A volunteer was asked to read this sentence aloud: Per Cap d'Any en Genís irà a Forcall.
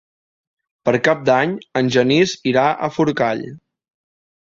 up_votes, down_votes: 3, 1